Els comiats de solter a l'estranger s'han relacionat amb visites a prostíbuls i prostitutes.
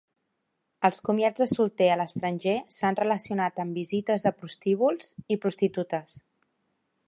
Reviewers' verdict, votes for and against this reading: rejected, 1, 2